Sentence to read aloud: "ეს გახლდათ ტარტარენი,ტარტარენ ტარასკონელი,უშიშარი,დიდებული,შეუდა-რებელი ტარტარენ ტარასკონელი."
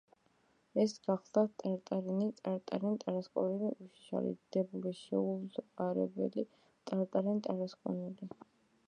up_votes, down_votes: 1, 2